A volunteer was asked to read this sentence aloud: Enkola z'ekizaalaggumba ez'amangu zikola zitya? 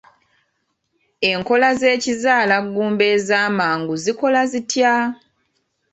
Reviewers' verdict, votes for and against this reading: accepted, 2, 0